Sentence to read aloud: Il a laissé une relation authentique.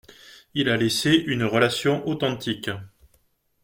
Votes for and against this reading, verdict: 2, 0, accepted